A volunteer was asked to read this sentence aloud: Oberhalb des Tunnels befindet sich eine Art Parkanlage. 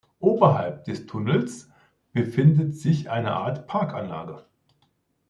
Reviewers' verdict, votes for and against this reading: accepted, 2, 0